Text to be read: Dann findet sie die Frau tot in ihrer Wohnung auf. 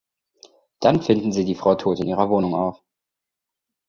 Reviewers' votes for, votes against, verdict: 2, 0, accepted